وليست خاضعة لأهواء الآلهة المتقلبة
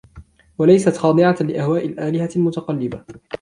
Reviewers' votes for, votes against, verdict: 2, 0, accepted